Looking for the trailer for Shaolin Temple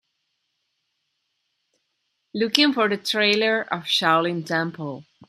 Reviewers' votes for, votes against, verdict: 0, 2, rejected